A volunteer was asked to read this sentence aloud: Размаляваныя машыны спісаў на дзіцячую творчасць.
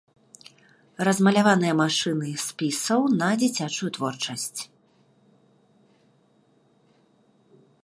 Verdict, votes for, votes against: rejected, 1, 2